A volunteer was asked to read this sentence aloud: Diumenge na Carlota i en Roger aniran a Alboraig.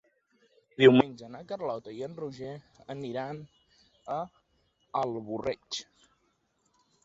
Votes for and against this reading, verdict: 0, 2, rejected